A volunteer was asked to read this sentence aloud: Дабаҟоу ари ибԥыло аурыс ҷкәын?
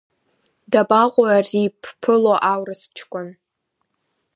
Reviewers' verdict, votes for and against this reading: accepted, 4, 0